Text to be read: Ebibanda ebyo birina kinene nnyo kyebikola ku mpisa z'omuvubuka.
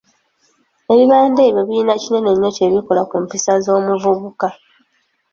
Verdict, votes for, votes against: accepted, 2, 0